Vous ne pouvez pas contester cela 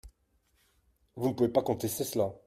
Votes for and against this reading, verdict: 2, 1, accepted